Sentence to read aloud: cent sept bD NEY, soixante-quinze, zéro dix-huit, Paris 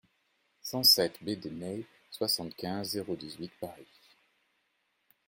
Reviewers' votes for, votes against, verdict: 2, 0, accepted